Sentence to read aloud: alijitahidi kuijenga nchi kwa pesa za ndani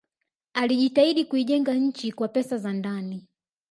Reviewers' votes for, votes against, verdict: 3, 0, accepted